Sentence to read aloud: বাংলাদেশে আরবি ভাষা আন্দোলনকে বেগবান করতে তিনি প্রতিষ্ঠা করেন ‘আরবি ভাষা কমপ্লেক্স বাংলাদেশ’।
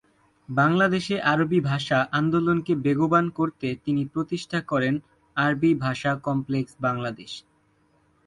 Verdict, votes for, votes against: accepted, 6, 0